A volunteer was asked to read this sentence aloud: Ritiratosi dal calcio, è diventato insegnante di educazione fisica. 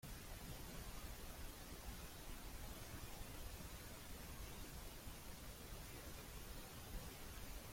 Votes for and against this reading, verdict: 0, 2, rejected